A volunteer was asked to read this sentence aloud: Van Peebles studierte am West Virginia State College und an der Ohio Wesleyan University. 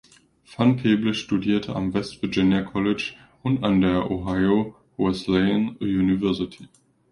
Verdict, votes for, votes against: rejected, 0, 2